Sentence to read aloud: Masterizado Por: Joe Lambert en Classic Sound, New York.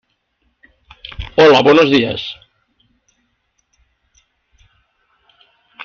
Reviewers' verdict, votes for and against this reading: rejected, 0, 2